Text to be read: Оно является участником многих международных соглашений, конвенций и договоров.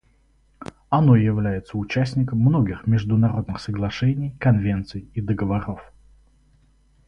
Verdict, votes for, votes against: rejected, 2, 2